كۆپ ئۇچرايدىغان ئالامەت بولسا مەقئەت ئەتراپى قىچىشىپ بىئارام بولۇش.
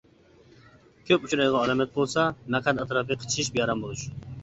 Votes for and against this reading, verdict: 0, 2, rejected